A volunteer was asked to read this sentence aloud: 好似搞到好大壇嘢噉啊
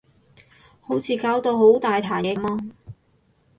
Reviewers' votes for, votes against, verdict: 0, 6, rejected